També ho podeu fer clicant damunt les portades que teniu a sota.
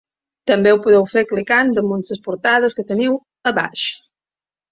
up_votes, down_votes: 2, 1